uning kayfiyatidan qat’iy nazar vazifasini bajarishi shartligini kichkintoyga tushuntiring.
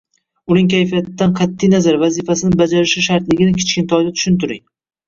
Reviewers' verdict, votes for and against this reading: rejected, 1, 2